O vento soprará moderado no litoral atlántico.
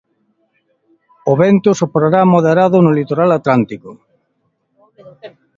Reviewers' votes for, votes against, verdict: 2, 1, accepted